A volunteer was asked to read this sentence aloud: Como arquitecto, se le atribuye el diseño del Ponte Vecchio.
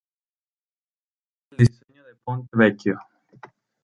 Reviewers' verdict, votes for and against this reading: rejected, 0, 2